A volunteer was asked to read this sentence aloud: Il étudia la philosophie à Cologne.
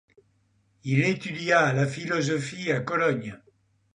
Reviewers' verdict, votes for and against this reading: accepted, 2, 0